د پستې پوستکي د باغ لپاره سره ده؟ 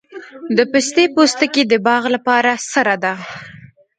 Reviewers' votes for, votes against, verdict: 2, 0, accepted